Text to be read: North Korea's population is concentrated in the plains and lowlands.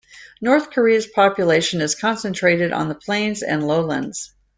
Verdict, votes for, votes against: accepted, 2, 1